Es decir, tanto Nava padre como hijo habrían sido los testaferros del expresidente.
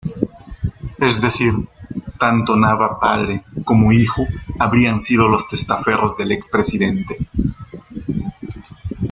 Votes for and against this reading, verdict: 2, 1, accepted